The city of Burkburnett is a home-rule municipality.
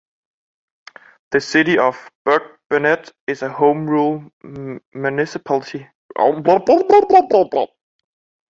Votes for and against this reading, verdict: 0, 2, rejected